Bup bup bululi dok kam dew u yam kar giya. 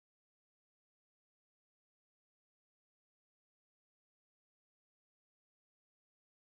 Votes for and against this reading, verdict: 0, 2, rejected